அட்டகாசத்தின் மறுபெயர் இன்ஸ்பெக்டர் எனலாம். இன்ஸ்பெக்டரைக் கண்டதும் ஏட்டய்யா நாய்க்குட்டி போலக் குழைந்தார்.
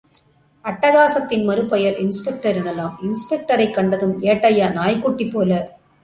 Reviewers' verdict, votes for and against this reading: rejected, 0, 2